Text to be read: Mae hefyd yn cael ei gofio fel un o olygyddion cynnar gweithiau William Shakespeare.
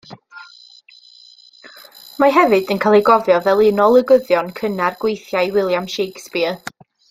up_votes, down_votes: 2, 0